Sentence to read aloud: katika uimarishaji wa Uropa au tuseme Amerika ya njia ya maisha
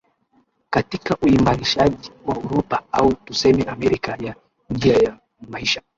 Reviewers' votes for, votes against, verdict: 1, 2, rejected